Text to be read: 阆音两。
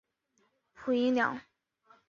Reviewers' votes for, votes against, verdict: 2, 0, accepted